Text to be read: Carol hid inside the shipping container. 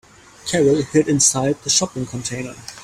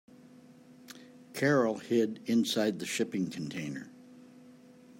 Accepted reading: second